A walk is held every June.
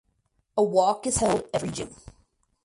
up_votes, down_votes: 0, 4